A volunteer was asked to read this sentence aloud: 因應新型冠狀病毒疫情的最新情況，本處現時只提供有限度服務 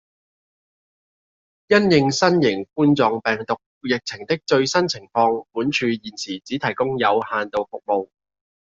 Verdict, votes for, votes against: accepted, 2, 0